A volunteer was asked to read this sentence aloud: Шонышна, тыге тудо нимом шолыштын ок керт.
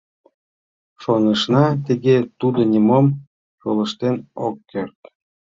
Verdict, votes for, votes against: accepted, 2, 0